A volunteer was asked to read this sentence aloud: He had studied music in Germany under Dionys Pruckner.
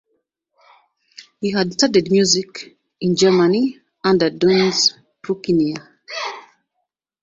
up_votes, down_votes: 1, 2